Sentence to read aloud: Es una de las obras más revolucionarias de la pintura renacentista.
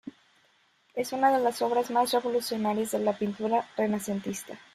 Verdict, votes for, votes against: accepted, 2, 0